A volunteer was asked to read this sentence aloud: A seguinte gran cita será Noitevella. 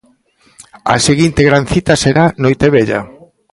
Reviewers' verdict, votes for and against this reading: accepted, 2, 0